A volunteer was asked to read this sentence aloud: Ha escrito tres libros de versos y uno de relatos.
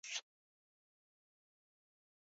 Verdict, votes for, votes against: rejected, 0, 4